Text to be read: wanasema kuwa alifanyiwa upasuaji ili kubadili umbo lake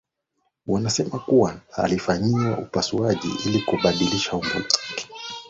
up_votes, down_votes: 3, 1